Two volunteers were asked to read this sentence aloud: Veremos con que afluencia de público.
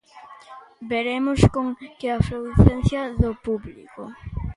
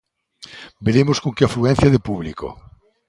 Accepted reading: second